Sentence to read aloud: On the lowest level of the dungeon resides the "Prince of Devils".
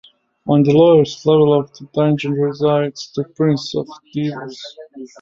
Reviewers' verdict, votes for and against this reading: rejected, 0, 2